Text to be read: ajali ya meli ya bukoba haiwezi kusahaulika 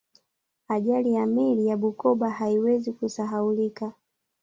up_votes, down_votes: 0, 2